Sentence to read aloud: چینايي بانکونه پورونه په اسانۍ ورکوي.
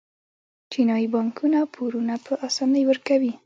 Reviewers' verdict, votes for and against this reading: rejected, 0, 2